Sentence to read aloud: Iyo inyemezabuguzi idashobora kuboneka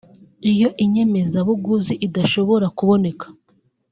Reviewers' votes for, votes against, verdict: 3, 0, accepted